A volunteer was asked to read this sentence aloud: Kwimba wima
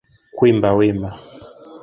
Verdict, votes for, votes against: accepted, 3, 0